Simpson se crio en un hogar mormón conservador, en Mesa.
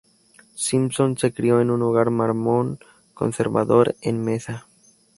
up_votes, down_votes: 0, 2